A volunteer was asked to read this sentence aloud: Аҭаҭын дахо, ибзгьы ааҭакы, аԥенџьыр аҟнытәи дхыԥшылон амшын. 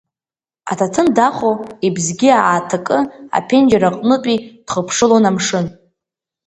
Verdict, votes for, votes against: rejected, 0, 2